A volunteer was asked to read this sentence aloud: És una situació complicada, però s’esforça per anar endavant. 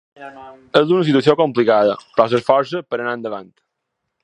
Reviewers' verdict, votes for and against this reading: accepted, 2, 1